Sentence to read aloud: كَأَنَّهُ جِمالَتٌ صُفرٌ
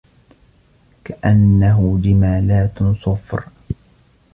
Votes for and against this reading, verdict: 1, 2, rejected